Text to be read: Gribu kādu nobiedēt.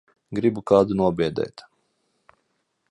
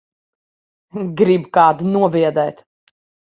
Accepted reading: first